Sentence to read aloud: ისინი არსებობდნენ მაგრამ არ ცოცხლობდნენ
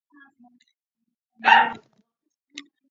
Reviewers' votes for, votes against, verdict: 0, 2, rejected